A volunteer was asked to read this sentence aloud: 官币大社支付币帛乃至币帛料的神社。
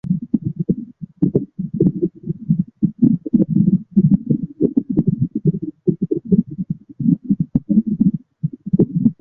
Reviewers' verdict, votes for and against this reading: rejected, 0, 2